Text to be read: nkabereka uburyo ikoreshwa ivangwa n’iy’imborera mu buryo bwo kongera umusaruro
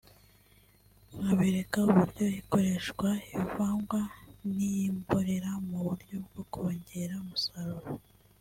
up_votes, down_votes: 1, 2